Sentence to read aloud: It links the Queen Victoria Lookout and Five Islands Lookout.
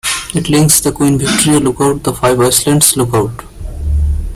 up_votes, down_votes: 0, 2